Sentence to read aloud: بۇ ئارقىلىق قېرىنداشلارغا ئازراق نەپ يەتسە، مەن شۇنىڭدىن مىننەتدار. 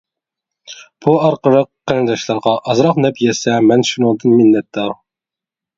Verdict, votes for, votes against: rejected, 0, 2